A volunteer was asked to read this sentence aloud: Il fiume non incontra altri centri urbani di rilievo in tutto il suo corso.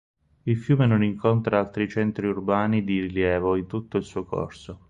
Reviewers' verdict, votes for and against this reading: accepted, 4, 2